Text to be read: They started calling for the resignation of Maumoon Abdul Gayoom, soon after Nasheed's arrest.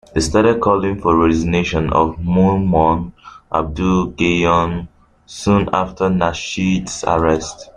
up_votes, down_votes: 1, 4